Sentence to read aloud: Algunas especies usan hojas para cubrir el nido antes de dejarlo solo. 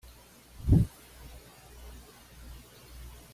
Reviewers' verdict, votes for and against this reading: rejected, 1, 2